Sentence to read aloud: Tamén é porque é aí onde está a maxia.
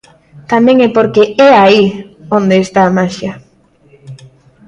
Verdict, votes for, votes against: accepted, 2, 0